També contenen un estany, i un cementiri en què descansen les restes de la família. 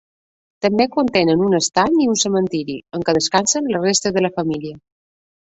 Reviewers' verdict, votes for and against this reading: accepted, 2, 0